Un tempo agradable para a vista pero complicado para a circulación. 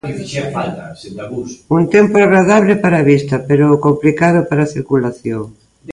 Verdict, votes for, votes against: rejected, 0, 2